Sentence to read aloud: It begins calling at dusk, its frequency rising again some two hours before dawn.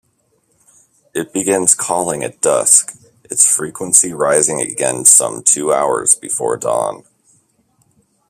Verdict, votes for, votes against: accepted, 2, 0